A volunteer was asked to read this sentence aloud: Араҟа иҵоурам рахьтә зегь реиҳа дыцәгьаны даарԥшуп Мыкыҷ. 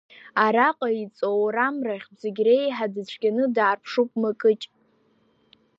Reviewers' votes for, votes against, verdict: 2, 0, accepted